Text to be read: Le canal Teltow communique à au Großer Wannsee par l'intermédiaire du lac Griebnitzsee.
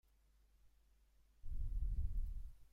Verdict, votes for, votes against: rejected, 0, 2